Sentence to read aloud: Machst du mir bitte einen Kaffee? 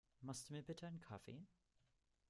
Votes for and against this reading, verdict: 1, 2, rejected